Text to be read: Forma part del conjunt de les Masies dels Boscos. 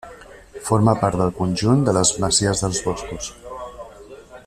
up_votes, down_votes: 2, 0